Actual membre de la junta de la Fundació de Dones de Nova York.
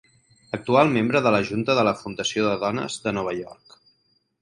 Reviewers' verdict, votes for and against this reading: accepted, 10, 0